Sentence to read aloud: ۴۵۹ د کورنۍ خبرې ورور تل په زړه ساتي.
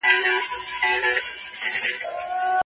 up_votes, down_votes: 0, 2